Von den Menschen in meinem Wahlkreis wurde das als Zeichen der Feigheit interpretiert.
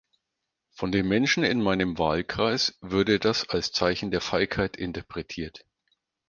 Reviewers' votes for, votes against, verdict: 0, 4, rejected